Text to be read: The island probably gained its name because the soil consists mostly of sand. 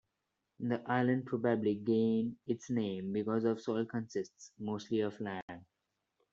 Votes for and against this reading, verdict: 0, 2, rejected